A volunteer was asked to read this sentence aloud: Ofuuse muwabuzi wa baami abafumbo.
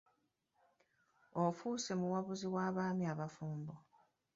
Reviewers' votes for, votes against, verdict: 2, 1, accepted